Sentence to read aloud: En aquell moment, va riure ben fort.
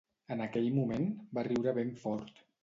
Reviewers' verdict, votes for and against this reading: accepted, 2, 0